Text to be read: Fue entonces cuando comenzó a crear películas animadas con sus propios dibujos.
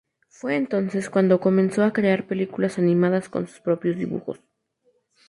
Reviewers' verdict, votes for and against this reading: accepted, 2, 0